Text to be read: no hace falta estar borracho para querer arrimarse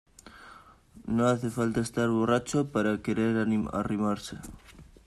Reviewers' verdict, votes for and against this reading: rejected, 0, 2